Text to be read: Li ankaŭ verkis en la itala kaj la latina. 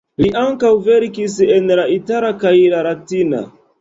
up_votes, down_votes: 2, 1